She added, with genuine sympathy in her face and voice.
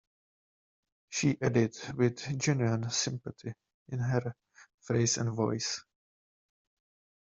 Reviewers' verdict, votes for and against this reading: accepted, 2, 1